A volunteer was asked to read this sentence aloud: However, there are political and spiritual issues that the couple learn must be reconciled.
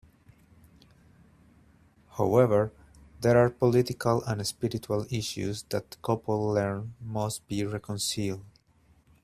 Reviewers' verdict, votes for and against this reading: accepted, 2, 1